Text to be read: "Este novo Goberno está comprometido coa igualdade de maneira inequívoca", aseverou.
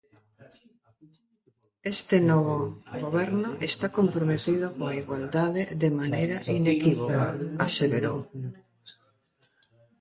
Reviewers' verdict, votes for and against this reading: rejected, 0, 2